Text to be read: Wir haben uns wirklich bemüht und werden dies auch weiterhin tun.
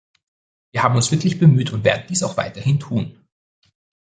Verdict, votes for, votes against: accepted, 2, 0